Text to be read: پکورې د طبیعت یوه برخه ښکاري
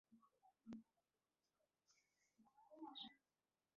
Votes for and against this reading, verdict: 1, 2, rejected